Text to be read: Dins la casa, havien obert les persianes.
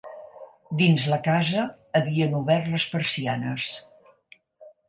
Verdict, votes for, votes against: accepted, 4, 0